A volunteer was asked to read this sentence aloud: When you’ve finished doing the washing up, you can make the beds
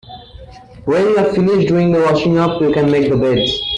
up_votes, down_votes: 1, 2